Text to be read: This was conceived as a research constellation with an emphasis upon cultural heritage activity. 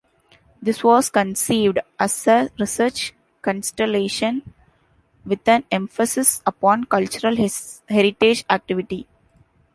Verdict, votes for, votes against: accepted, 2, 0